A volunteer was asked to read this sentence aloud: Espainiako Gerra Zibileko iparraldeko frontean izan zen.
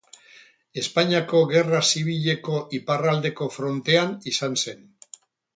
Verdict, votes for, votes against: rejected, 2, 2